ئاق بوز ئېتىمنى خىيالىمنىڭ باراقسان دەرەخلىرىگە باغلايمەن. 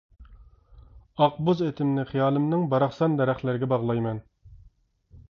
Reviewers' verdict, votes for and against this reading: accepted, 2, 0